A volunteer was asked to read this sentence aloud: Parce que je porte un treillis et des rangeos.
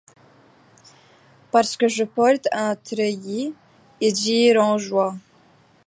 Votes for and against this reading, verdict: 0, 2, rejected